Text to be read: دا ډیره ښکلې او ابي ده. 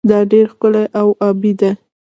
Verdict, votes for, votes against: rejected, 1, 2